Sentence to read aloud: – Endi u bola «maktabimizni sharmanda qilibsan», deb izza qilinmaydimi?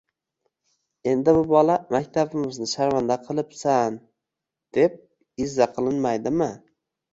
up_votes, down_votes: 2, 0